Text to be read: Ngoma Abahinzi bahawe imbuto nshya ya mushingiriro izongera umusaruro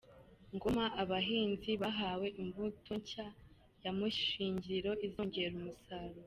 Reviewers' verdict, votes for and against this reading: accepted, 2, 0